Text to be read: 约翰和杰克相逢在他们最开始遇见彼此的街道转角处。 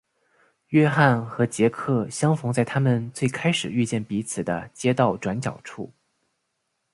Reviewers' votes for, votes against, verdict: 7, 0, accepted